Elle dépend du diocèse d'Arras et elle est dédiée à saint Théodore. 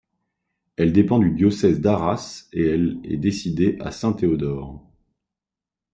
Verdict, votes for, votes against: rejected, 0, 2